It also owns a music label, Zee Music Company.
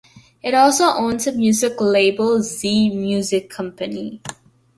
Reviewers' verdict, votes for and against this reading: accepted, 2, 0